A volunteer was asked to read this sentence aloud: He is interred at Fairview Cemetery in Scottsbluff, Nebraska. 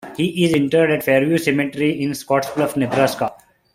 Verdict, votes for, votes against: accepted, 2, 1